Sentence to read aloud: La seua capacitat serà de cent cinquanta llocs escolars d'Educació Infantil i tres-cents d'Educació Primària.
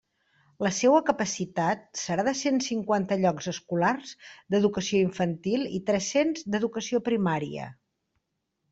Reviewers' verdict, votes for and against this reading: accepted, 3, 0